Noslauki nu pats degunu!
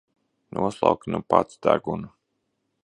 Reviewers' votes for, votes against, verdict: 2, 0, accepted